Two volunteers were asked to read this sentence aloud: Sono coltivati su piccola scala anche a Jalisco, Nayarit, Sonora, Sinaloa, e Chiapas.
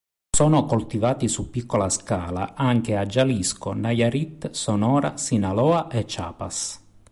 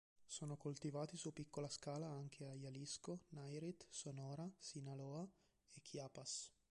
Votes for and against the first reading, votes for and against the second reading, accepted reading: 2, 0, 0, 2, first